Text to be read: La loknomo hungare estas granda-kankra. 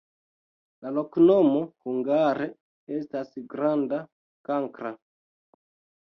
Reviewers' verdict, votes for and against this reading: rejected, 1, 2